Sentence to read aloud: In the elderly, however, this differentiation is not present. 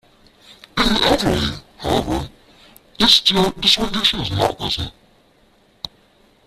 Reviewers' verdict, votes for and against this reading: rejected, 0, 2